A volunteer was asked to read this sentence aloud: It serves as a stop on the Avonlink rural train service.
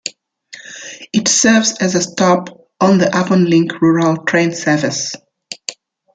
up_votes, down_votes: 2, 1